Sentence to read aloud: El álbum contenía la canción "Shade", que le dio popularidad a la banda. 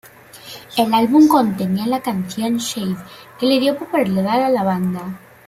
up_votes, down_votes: 1, 2